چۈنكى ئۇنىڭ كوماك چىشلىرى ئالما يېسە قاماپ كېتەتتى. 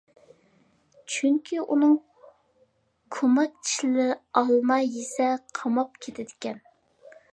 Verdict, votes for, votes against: rejected, 1, 2